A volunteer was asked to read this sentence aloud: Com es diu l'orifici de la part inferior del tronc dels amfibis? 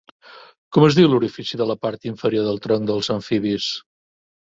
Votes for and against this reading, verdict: 2, 0, accepted